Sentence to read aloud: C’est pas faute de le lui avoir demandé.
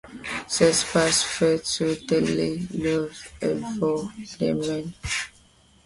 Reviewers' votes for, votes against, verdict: 0, 2, rejected